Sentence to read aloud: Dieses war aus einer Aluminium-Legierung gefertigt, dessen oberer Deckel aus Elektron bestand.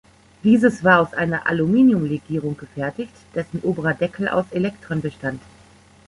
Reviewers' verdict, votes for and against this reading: rejected, 0, 2